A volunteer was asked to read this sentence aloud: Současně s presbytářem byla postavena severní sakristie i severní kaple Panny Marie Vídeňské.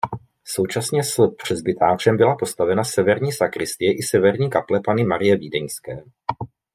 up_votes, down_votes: 0, 2